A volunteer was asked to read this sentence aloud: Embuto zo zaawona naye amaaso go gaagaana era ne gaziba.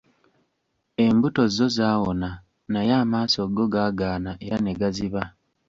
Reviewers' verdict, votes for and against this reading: accepted, 2, 0